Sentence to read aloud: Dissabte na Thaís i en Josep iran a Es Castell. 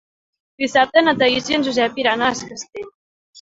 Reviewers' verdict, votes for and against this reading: rejected, 0, 2